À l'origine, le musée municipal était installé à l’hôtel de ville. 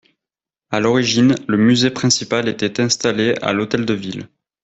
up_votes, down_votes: 1, 2